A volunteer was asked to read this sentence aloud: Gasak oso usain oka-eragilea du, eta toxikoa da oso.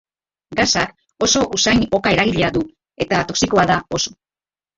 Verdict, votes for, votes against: rejected, 0, 2